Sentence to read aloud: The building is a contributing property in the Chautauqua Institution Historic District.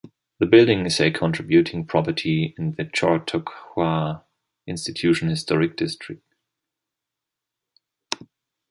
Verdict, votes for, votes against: rejected, 0, 2